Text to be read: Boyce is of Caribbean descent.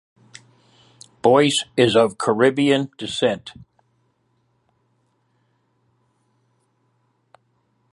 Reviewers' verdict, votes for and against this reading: accepted, 2, 0